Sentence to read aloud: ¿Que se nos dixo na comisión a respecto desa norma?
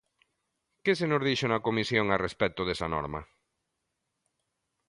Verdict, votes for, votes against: accepted, 2, 1